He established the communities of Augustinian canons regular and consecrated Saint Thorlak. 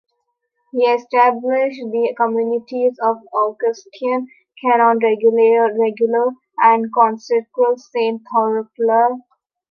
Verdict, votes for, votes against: rejected, 0, 2